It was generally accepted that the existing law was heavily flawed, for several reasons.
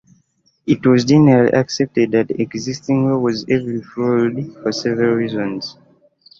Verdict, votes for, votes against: rejected, 1, 2